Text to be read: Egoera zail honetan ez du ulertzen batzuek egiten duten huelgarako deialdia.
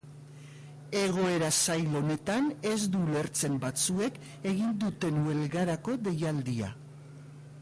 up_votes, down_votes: 0, 2